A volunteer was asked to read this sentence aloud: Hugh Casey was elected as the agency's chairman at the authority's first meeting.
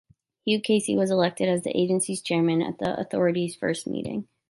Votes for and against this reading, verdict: 2, 0, accepted